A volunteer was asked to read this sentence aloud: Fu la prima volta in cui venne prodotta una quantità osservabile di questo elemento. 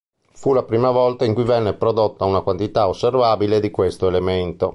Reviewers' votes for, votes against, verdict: 2, 0, accepted